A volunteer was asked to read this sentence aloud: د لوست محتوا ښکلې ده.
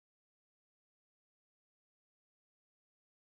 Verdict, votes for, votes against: rejected, 0, 4